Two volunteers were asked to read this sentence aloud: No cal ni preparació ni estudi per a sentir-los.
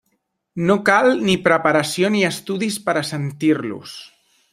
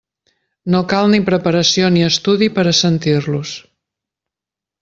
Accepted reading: second